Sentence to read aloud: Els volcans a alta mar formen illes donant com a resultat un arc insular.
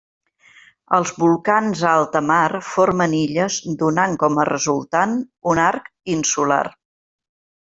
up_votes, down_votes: 1, 2